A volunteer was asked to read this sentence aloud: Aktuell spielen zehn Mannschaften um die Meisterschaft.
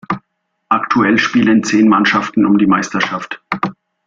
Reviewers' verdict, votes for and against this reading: accepted, 2, 0